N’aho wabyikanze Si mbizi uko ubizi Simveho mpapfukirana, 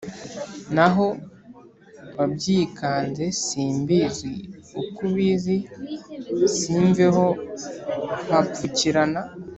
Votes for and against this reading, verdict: 2, 0, accepted